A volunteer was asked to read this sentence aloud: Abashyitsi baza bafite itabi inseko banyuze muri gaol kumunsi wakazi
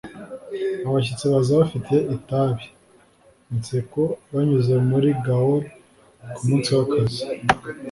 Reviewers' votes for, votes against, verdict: 2, 0, accepted